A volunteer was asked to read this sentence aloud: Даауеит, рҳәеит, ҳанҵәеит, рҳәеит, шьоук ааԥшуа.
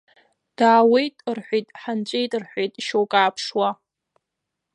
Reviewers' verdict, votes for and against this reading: rejected, 0, 2